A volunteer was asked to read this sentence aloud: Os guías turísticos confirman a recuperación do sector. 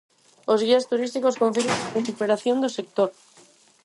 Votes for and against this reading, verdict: 0, 4, rejected